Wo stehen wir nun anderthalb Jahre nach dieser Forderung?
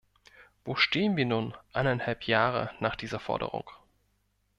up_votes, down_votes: 1, 2